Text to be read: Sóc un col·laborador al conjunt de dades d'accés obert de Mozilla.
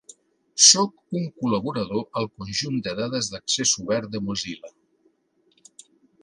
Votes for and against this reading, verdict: 2, 0, accepted